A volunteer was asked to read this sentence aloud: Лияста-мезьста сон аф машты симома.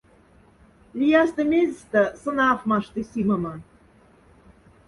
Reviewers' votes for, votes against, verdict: 2, 0, accepted